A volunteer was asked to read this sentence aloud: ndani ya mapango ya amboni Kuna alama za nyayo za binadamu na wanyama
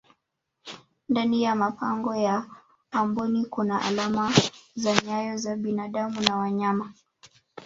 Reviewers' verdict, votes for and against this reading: accepted, 2, 0